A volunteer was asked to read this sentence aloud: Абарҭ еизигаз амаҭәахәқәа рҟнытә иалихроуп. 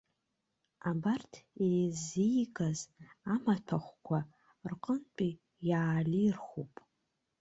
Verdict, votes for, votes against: rejected, 1, 2